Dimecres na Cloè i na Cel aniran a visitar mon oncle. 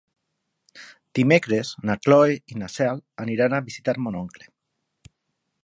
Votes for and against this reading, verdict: 3, 3, rejected